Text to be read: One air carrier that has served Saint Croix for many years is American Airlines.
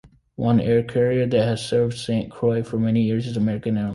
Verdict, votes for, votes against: rejected, 0, 2